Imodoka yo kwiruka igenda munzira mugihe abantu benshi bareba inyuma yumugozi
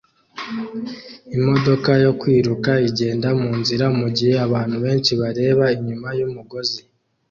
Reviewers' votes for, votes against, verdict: 2, 0, accepted